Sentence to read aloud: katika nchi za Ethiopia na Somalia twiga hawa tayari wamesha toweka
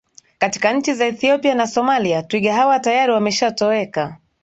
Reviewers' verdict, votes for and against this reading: accepted, 2, 0